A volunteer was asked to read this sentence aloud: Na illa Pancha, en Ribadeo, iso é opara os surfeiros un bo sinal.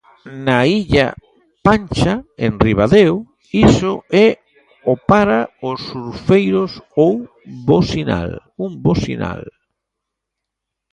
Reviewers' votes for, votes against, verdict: 0, 2, rejected